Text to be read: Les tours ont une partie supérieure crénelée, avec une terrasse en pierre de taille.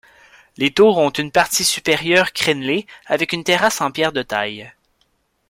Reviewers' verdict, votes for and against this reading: accepted, 2, 0